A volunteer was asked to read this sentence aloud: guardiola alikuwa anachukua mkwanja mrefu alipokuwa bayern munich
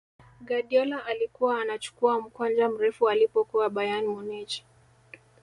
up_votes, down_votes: 1, 2